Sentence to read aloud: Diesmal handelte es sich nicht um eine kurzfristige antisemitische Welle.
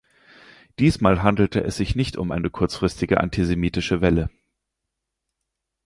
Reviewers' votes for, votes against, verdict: 4, 0, accepted